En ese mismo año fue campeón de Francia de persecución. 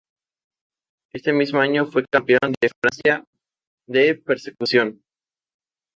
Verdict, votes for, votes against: rejected, 0, 2